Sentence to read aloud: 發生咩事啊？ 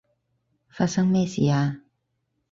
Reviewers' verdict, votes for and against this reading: accepted, 4, 0